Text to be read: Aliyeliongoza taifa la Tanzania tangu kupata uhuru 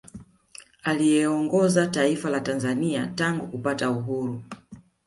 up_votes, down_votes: 2, 0